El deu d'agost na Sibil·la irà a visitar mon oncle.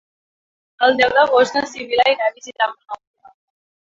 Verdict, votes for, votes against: rejected, 1, 2